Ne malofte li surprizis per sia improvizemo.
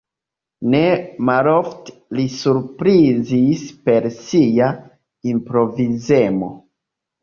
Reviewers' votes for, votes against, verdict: 0, 2, rejected